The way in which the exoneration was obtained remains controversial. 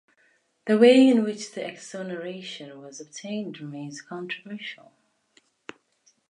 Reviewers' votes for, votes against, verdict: 2, 0, accepted